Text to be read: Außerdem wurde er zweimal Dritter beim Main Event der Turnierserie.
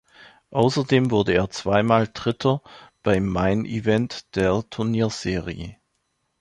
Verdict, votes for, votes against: rejected, 1, 2